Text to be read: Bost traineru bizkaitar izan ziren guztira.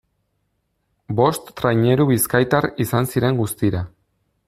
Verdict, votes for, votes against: accepted, 2, 0